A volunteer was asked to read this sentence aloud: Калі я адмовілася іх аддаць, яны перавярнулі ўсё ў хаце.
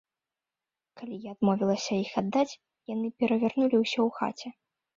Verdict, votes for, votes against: accepted, 2, 0